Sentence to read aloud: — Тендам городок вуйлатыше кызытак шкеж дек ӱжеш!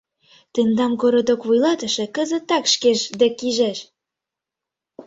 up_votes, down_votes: 0, 2